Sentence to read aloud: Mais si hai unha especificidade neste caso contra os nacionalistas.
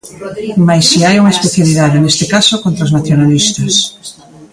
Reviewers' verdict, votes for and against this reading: rejected, 0, 2